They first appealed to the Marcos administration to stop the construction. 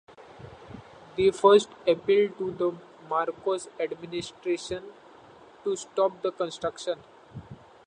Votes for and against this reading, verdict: 2, 0, accepted